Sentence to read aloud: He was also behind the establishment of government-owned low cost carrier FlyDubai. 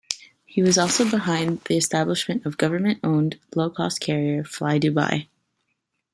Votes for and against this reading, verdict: 3, 0, accepted